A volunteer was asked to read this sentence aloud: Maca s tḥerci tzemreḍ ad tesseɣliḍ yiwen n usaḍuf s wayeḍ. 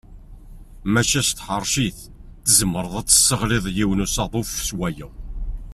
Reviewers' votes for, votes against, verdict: 1, 2, rejected